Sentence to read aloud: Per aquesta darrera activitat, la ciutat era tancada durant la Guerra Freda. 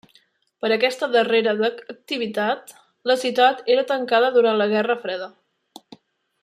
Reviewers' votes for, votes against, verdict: 3, 0, accepted